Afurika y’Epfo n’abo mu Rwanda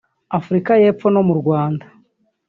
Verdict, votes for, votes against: rejected, 1, 2